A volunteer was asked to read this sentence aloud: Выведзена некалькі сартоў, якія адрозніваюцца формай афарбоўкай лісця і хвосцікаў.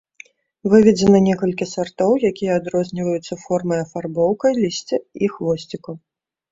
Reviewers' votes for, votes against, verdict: 2, 0, accepted